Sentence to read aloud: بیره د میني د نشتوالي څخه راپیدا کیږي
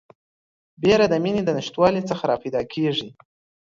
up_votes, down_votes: 2, 0